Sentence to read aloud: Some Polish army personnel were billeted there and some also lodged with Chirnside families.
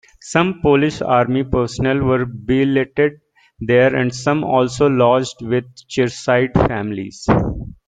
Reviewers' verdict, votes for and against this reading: rejected, 1, 2